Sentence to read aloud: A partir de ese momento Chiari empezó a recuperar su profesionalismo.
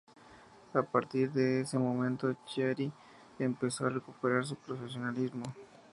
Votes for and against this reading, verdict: 4, 2, accepted